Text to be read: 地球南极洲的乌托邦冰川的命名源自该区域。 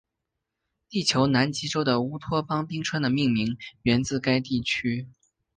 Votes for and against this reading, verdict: 1, 2, rejected